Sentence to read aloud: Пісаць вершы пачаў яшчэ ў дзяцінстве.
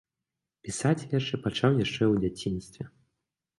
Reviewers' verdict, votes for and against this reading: accepted, 2, 0